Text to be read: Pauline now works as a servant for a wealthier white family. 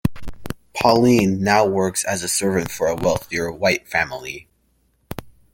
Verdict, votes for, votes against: rejected, 0, 2